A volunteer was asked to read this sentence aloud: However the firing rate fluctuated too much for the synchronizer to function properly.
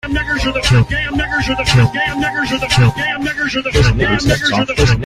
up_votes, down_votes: 1, 2